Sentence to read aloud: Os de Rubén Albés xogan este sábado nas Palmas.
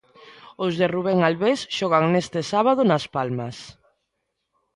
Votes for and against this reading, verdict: 2, 0, accepted